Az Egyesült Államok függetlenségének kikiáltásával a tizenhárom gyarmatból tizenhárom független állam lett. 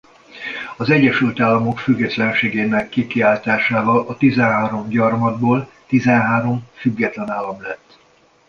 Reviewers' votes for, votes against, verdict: 2, 0, accepted